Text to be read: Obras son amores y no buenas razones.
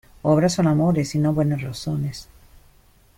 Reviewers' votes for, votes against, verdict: 1, 2, rejected